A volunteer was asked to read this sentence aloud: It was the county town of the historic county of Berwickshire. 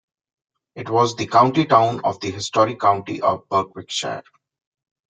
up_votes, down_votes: 2, 1